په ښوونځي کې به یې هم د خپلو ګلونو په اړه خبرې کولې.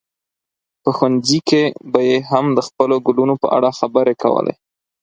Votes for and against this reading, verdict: 4, 0, accepted